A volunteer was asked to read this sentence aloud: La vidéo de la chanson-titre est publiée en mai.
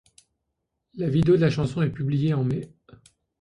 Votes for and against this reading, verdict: 0, 2, rejected